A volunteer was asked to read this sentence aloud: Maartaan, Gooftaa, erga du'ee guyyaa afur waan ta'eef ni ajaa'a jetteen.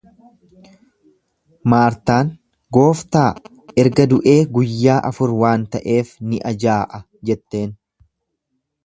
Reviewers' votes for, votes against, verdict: 2, 0, accepted